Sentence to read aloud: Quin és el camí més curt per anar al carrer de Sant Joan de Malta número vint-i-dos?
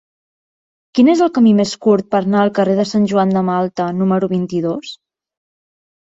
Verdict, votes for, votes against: rejected, 1, 2